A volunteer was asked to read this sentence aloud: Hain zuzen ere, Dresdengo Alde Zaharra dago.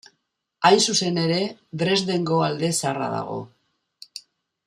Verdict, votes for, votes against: accepted, 2, 0